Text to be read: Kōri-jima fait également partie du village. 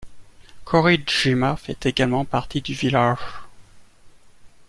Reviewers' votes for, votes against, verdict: 2, 0, accepted